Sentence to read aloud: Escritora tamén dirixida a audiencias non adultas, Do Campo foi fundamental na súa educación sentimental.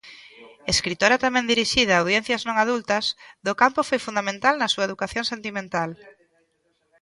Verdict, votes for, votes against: accepted, 2, 0